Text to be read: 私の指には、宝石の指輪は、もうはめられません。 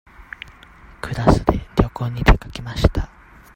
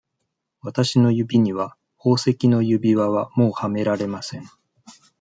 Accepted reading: second